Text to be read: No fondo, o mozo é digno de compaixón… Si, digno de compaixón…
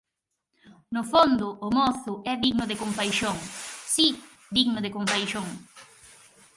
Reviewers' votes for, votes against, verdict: 0, 4, rejected